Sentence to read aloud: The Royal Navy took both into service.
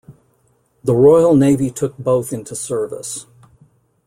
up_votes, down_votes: 2, 0